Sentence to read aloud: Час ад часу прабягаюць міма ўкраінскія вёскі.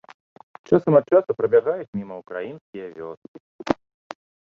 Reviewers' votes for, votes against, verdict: 1, 2, rejected